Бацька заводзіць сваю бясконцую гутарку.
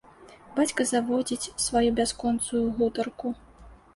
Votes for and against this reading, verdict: 0, 2, rejected